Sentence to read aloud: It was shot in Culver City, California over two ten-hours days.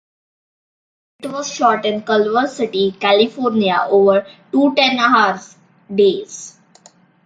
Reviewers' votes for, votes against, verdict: 1, 2, rejected